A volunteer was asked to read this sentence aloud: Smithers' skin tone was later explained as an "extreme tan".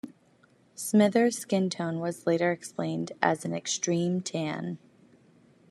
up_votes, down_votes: 2, 0